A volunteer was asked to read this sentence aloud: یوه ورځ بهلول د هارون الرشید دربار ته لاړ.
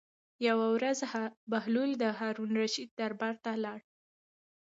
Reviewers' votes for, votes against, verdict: 1, 2, rejected